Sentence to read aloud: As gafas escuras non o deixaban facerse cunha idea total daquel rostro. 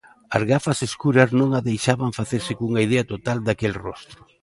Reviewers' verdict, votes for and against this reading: rejected, 1, 2